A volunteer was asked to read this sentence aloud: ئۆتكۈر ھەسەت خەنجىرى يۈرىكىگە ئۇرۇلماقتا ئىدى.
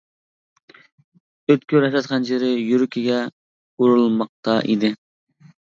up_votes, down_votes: 0, 2